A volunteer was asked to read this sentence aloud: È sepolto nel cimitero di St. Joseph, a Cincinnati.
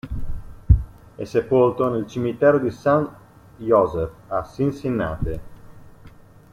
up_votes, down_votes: 1, 2